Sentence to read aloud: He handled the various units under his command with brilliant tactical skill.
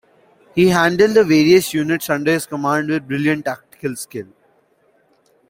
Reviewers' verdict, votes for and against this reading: accepted, 2, 0